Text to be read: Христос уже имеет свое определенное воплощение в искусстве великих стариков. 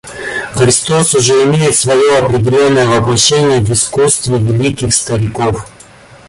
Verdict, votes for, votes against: rejected, 1, 2